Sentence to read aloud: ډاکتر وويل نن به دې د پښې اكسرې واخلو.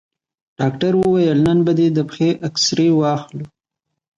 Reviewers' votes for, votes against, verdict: 2, 1, accepted